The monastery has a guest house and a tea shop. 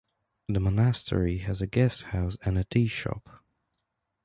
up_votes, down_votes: 1, 2